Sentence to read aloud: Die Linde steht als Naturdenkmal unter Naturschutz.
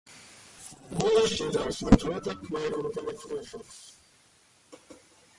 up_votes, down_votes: 0, 2